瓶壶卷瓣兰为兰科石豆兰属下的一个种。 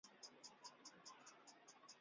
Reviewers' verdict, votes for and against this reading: accepted, 2, 1